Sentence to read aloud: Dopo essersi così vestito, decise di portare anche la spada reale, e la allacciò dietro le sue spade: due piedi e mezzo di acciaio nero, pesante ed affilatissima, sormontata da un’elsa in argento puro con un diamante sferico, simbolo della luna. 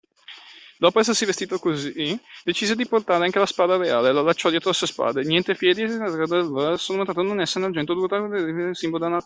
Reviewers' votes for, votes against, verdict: 0, 2, rejected